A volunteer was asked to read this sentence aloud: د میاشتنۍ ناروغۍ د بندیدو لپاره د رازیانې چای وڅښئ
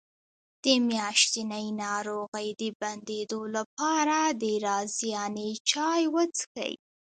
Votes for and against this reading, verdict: 0, 2, rejected